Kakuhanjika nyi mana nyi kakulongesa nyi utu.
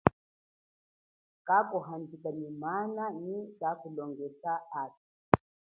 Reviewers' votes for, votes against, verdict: 2, 0, accepted